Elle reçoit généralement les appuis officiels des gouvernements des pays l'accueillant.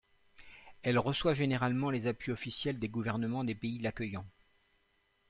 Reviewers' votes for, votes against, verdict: 2, 0, accepted